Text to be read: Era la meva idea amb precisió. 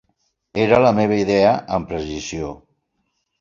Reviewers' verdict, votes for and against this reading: rejected, 1, 2